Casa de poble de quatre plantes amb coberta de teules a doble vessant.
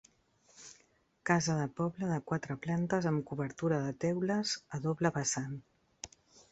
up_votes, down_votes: 0, 2